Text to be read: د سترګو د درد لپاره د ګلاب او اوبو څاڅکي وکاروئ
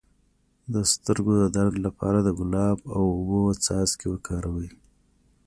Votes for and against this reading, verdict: 2, 0, accepted